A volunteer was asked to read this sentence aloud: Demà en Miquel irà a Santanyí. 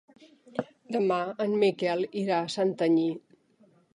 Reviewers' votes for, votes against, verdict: 3, 0, accepted